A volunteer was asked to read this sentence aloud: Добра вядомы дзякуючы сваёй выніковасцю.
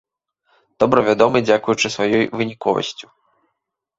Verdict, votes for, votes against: accepted, 2, 0